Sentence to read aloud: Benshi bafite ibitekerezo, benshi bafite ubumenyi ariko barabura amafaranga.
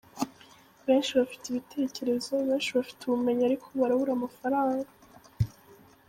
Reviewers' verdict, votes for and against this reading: accepted, 2, 0